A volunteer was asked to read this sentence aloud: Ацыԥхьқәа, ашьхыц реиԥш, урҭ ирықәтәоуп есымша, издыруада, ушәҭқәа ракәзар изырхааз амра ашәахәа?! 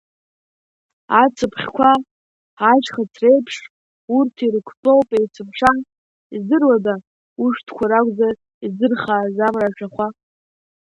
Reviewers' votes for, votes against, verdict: 0, 2, rejected